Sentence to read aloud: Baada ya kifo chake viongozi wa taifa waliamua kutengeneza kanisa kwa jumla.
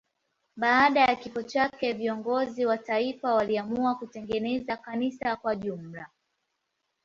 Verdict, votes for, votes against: accepted, 7, 3